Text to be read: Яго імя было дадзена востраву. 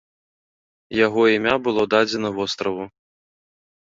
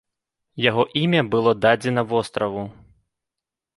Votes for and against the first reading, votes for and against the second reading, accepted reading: 2, 0, 1, 2, first